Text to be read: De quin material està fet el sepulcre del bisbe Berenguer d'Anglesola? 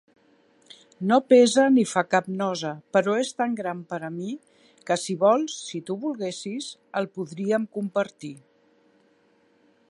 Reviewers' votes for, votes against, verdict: 0, 2, rejected